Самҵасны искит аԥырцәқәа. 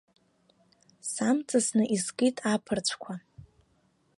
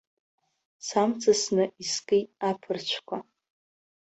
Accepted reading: first